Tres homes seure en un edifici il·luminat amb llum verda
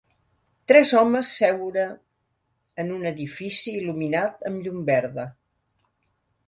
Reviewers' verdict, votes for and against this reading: accepted, 2, 0